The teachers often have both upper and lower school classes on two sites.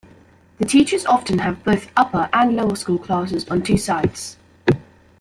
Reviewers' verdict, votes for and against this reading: accepted, 3, 1